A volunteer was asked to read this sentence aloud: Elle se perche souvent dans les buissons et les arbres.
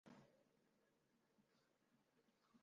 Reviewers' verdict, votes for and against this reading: rejected, 0, 2